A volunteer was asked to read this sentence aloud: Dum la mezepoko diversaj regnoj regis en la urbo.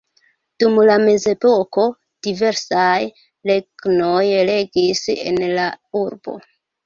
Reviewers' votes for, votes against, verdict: 2, 0, accepted